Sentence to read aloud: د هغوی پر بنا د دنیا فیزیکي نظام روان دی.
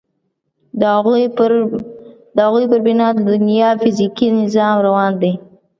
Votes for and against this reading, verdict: 1, 2, rejected